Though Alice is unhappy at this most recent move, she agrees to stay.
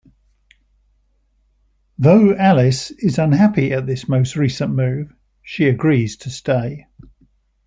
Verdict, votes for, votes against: accepted, 2, 0